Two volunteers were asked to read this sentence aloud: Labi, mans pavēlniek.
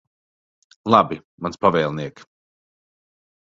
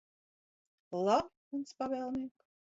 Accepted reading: first